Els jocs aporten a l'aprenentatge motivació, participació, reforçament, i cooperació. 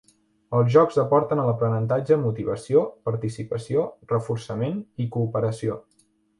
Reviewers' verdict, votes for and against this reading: accepted, 2, 0